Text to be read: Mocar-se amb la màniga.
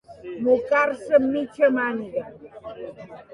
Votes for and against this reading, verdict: 0, 2, rejected